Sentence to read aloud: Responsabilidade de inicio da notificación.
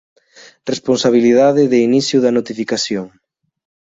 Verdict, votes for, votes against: accepted, 2, 0